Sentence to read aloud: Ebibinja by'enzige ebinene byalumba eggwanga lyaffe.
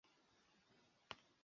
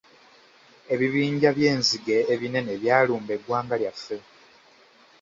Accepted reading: second